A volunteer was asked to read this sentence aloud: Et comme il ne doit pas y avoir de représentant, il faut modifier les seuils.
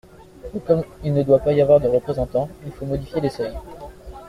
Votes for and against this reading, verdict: 2, 1, accepted